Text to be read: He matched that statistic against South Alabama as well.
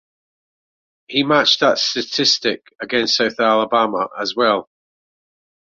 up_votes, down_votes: 2, 1